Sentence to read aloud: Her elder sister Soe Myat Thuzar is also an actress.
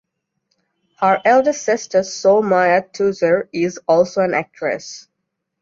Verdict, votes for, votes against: accepted, 2, 0